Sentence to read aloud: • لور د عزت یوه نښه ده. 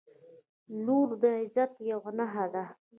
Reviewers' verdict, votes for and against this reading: accepted, 2, 0